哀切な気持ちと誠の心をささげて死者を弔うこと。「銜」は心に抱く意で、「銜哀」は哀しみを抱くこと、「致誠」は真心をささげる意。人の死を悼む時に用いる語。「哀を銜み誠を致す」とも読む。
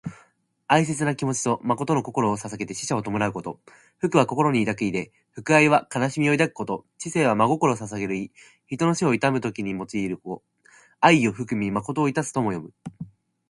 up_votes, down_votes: 2, 1